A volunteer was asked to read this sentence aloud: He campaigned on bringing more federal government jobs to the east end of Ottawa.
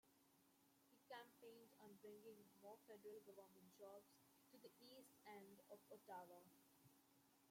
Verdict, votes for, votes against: rejected, 0, 2